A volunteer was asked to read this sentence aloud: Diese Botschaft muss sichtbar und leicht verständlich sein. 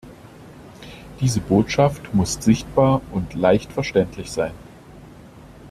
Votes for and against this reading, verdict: 2, 0, accepted